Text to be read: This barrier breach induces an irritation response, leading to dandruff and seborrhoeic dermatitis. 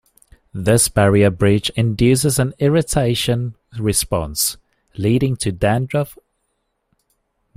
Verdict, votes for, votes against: rejected, 0, 2